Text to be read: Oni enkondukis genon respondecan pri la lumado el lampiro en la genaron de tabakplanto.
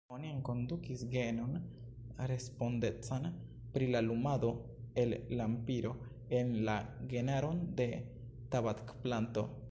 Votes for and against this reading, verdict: 1, 2, rejected